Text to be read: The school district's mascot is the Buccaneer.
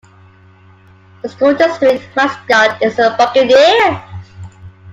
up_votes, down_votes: 2, 1